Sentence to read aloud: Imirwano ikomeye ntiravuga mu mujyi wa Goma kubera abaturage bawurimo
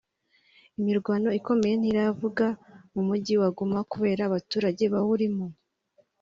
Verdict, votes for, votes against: rejected, 0, 2